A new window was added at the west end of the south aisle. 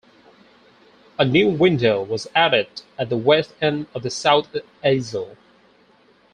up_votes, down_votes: 0, 2